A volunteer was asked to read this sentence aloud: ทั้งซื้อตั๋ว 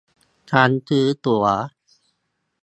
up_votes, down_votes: 0, 2